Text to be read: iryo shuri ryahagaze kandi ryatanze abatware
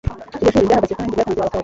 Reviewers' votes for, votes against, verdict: 1, 2, rejected